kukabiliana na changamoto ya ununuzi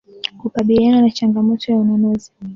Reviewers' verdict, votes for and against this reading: accepted, 2, 1